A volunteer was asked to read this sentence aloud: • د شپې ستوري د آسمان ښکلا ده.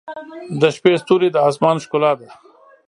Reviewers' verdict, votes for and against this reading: accepted, 5, 0